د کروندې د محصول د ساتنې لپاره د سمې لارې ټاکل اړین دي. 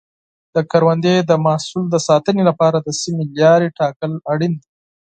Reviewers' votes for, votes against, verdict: 4, 0, accepted